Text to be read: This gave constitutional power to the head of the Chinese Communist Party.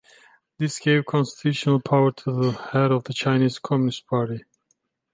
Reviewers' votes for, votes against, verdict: 3, 2, accepted